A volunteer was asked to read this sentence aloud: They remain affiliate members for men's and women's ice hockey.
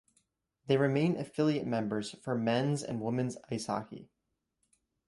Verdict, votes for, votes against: rejected, 0, 2